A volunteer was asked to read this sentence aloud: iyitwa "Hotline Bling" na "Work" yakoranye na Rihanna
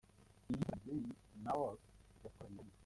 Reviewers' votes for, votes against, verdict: 0, 2, rejected